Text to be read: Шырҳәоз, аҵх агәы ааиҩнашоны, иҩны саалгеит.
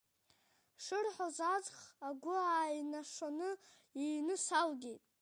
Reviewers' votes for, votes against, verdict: 2, 3, rejected